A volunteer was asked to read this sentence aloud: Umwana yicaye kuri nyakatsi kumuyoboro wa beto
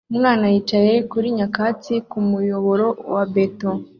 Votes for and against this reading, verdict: 2, 0, accepted